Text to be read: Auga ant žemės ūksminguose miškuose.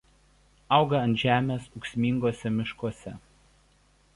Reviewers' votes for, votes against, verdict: 2, 0, accepted